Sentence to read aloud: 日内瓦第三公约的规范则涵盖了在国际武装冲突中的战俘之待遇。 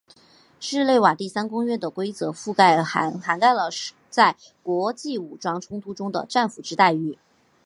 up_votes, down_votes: 2, 3